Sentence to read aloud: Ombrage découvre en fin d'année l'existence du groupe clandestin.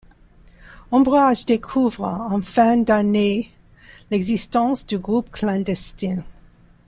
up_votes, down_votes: 1, 2